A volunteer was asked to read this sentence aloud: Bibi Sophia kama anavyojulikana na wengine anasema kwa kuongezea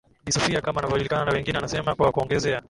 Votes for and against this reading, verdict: 6, 11, rejected